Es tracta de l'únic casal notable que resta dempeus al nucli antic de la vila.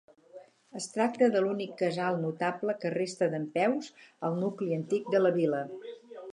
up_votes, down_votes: 6, 0